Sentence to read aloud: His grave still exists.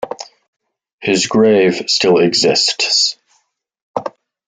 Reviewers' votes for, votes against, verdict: 2, 1, accepted